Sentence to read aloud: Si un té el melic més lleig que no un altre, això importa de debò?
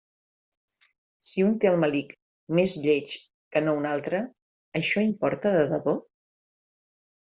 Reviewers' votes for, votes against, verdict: 2, 0, accepted